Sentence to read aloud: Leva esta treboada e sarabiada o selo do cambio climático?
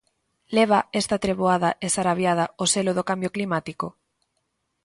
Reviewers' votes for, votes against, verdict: 2, 0, accepted